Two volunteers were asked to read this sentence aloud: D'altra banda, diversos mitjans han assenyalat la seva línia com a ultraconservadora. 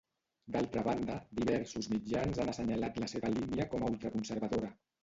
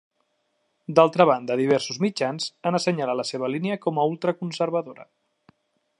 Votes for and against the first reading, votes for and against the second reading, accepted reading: 0, 2, 3, 0, second